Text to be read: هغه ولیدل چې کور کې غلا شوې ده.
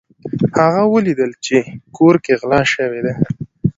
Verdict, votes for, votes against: accepted, 2, 1